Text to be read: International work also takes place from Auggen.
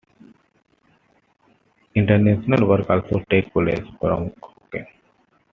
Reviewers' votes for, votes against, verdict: 2, 1, accepted